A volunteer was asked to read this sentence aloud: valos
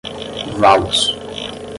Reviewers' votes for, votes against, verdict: 0, 5, rejected